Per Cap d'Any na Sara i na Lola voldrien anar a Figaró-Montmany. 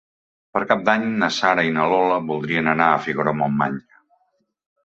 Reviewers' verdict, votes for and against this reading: accepted, 2, 0